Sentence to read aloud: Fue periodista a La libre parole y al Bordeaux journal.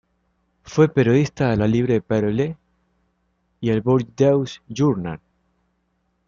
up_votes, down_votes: 0, 2